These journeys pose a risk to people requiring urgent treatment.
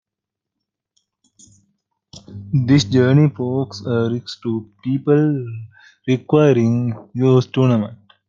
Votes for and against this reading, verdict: 0, 2, rejected